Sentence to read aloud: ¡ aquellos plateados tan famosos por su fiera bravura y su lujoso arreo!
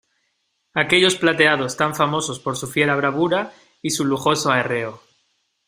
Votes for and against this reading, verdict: 2, 0, accepted